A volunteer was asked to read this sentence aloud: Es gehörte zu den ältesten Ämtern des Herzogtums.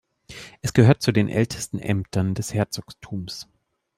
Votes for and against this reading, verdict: 1, 2, rejected